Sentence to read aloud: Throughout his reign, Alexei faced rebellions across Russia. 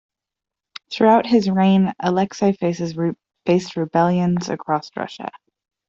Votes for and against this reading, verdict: 0, 2, rejected